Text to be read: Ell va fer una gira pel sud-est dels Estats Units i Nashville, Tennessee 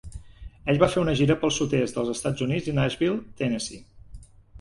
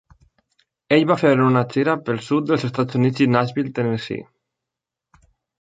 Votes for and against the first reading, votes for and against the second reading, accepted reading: 2, 0, 0, 2, first